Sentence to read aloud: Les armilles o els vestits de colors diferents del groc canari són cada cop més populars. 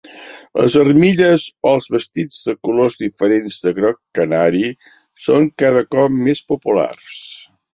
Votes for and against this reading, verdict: 2, 0, accepted